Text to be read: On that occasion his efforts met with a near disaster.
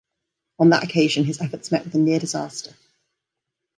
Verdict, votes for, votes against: accepted, 2, 0